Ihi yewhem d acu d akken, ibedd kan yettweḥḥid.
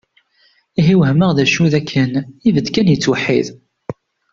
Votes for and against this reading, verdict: 0, 2, rejected